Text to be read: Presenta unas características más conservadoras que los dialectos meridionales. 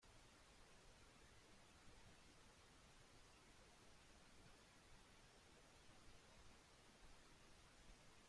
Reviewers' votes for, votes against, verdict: 0, 2, rejected